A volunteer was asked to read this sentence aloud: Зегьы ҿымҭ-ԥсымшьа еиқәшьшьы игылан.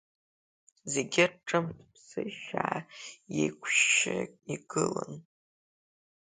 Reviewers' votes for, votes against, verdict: 0, 2, rejected